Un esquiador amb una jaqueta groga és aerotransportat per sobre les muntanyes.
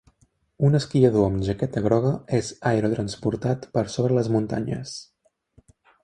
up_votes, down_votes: 1, 4